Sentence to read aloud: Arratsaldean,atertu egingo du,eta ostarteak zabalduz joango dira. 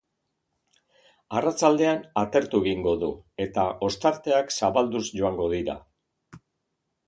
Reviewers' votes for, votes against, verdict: 2, 0, accepted